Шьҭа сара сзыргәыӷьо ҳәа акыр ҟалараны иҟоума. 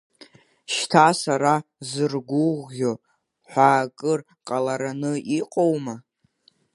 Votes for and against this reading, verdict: 0, 2, rejected